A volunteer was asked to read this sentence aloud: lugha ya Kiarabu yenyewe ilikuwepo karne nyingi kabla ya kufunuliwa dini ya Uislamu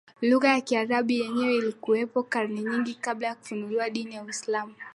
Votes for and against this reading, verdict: 1, 2, rejected